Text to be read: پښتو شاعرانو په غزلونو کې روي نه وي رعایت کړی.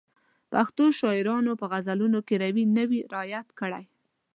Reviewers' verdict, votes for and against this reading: accepted, 2, 0